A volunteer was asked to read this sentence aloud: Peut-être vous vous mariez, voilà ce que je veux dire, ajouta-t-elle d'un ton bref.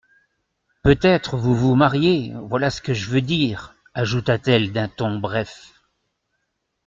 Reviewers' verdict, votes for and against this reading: accepted, 2, 0